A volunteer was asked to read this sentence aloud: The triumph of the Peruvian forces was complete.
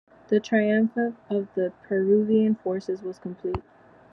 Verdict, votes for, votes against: accepted, 2, 1